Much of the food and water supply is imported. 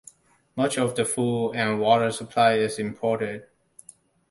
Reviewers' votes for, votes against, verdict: 2, 1, accepted